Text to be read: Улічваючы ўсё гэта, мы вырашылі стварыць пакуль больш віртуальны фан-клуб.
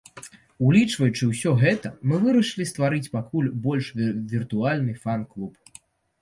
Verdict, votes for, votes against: rejected, 1, 2